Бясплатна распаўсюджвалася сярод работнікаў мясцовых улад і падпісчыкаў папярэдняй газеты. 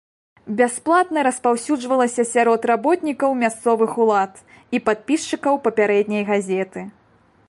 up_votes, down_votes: 2, 0